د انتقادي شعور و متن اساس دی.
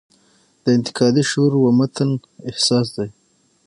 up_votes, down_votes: 0, 6